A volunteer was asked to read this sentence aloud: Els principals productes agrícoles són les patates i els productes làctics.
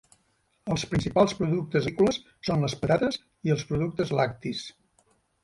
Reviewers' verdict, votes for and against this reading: rejected, 1, 2